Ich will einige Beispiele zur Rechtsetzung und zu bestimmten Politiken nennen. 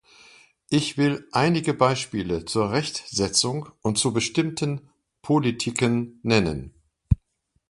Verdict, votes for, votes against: accepted, 2, 1